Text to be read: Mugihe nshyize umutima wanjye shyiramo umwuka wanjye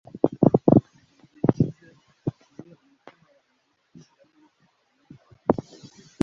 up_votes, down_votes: 0, 3